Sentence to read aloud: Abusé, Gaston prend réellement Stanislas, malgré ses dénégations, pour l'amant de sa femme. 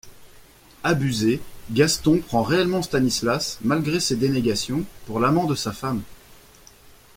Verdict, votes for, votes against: accepted, 2, 0